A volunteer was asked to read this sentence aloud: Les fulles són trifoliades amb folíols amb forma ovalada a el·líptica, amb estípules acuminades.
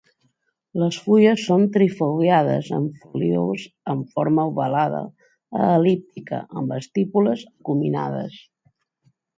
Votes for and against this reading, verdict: 0, 3, rejected